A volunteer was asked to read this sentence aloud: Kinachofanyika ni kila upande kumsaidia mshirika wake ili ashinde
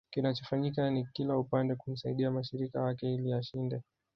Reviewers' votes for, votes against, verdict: 1, 2, rejected